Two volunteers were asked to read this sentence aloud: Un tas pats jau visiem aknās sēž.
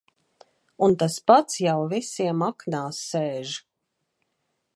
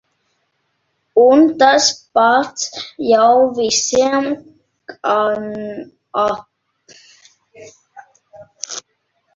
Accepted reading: first